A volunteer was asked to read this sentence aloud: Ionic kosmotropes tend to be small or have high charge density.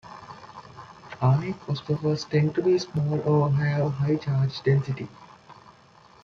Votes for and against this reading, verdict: 2, 0, accepted